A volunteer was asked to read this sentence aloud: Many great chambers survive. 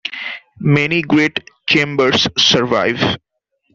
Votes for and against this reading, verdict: 2, 0, accepted